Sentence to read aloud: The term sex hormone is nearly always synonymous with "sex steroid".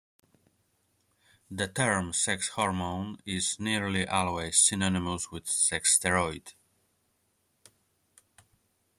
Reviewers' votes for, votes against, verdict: 2, 0, accepted